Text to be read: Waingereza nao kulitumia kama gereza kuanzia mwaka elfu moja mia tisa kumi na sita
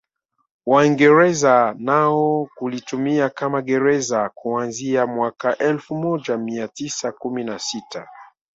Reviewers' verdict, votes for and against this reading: accepted, 3, 1